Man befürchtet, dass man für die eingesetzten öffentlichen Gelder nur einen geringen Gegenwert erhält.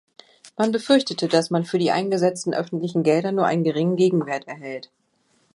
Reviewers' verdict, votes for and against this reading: rejected, 1, 2